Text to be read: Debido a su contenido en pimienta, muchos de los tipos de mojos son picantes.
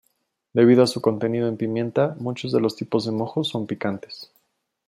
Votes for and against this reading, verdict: 2, 0, accepted